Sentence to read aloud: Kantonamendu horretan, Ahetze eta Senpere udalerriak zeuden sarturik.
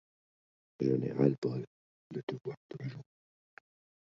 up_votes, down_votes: 0, 2